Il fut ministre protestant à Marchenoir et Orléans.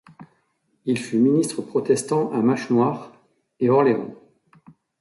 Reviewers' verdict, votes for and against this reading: accepted, 2, 1